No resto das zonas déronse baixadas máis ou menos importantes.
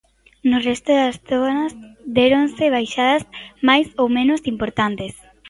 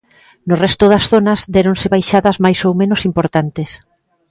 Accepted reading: second